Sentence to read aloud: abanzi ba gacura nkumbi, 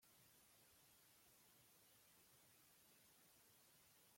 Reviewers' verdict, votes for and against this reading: rejected, 0, 2